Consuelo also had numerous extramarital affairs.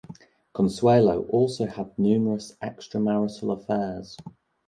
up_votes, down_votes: 2, 0